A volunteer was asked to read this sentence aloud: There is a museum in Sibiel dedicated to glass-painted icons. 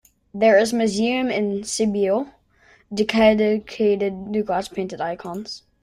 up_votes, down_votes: 0, 2